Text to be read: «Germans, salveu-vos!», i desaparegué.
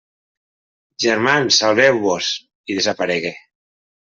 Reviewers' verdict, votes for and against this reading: accepted, 3, 0